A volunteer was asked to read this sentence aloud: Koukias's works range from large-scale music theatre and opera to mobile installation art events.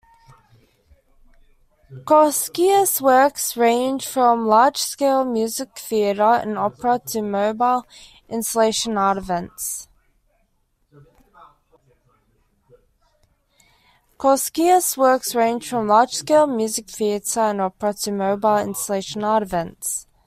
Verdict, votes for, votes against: rejected, 0, 2